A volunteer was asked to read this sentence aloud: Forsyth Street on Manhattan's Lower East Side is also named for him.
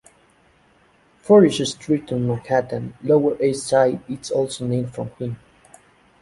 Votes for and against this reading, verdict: 2, 0, accepted